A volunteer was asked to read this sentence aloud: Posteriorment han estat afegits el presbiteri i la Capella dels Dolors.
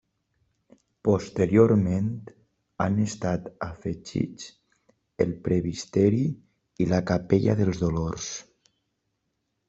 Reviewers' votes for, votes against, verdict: 1, 2, rejected